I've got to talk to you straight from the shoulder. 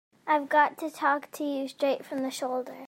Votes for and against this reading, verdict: 2, 0, accepted